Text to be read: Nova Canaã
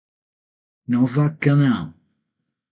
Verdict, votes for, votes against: accepted, 6, 0